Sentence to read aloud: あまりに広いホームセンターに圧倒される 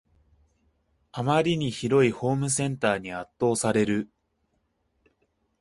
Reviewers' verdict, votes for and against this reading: accepted, 2, 0